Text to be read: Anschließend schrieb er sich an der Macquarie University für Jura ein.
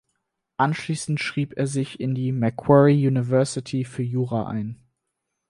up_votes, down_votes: 2, 4